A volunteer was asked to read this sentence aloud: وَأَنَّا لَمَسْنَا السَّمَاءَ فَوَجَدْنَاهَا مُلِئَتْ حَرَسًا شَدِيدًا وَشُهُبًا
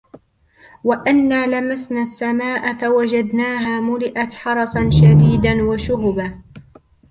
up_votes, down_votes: 2, 1